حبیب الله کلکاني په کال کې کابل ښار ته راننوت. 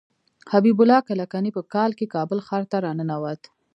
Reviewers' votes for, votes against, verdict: 1, 2, rejected